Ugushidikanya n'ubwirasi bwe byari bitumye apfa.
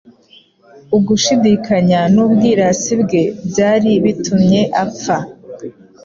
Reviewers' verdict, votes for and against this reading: accepted, 2, 0